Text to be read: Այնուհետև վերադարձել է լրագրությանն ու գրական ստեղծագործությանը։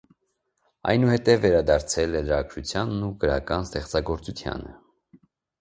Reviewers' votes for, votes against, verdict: 2, 0, accepted